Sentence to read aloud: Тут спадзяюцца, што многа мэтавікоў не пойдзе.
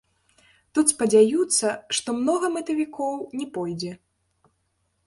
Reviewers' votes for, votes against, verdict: 0, 2, rejected